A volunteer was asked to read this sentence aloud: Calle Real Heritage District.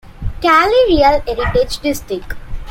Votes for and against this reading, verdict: 2, 0, accepted